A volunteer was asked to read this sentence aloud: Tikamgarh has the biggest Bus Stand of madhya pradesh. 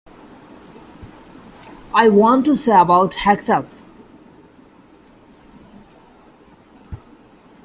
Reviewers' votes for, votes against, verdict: 0, 2, rejected